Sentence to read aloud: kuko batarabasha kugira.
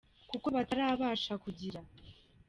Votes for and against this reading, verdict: 1, 2, rejected